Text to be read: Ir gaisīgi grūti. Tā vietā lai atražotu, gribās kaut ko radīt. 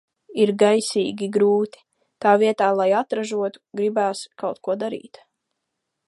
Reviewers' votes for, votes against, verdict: 1, 2, rejected